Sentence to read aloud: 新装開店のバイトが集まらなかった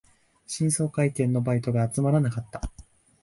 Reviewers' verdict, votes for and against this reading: accepted, 5, 0